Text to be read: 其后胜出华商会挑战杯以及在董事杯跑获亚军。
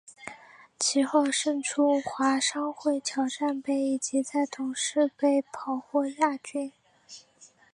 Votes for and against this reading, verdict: 2, 1, accepted